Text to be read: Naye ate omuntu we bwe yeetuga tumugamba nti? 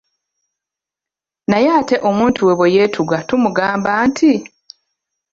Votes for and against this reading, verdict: 2, 0, accepted